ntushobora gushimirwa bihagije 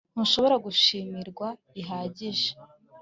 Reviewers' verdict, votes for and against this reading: accepted, 2, 0